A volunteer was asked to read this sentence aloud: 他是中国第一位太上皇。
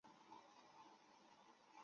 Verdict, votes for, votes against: rejected, 0, 3